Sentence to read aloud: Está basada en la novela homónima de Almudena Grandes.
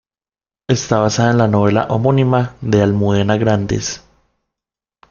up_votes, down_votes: 2, 1